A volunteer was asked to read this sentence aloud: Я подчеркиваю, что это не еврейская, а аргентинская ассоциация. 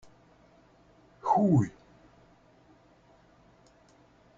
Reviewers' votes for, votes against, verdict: 0, 2, rejected